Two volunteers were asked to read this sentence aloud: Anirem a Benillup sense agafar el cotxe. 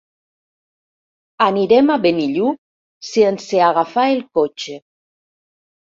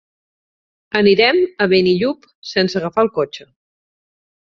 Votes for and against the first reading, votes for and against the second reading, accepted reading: 1, 2, 10, 0, second